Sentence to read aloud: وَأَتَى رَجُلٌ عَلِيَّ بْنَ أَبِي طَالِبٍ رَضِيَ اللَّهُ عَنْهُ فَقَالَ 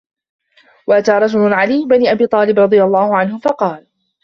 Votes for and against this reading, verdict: 2, 0, accepted